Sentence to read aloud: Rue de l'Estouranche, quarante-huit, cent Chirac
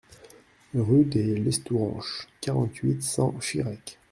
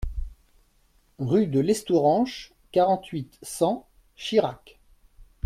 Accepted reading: second